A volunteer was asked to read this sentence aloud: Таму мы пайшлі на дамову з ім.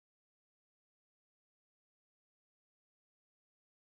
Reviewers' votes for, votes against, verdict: 0, 2, rejected